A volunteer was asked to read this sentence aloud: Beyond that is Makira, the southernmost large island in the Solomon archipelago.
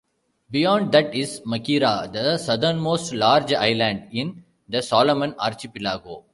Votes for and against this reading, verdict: 1, 2, rejected